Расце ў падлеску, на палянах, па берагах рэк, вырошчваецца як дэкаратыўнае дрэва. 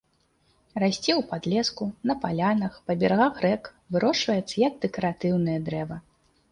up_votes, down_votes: 2, 0